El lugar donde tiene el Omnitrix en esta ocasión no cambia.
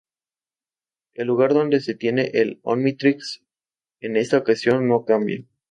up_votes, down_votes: 2, 2